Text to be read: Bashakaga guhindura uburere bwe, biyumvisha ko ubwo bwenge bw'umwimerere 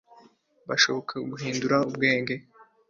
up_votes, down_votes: 0, 2